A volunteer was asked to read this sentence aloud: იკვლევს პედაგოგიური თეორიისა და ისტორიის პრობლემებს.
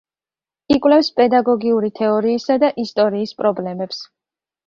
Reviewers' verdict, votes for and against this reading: accepted, 2, 0